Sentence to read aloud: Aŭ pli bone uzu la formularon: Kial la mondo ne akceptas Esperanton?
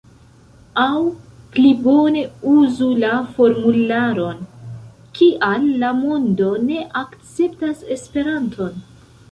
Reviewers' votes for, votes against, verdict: 1, 2, rejected